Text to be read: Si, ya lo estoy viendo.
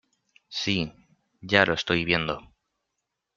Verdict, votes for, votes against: accepted, 2, 0